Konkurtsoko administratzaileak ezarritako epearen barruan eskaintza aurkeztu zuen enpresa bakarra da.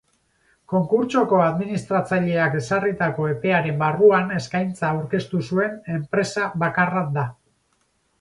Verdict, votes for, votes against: accepted, 4, 0